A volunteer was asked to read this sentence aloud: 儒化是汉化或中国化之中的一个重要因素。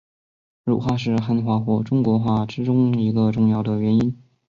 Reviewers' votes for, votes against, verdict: 1, 2, rejected